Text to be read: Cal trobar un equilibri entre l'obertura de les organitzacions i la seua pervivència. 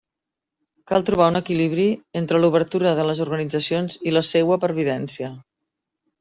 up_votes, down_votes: 2, 0